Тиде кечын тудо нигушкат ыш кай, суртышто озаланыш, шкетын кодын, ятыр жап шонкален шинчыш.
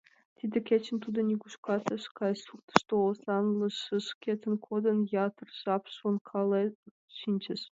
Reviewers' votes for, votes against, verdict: 1, 2, rejected